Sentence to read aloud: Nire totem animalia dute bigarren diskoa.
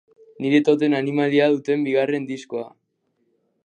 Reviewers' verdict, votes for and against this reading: rejected, 0, 2